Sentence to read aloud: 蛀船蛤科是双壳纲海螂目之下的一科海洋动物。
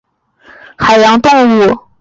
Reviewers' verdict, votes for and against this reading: rejected, 0, 3